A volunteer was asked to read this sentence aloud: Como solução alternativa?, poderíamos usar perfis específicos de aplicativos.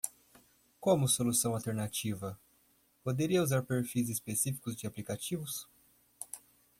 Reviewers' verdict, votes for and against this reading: rejected, 1, 2